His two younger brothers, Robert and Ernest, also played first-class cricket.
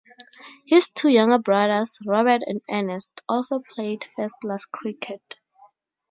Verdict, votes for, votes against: accepted, 2, 0